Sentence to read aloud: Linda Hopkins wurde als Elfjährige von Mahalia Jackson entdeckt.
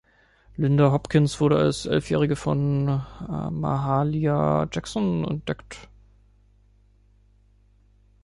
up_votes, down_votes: 1, 3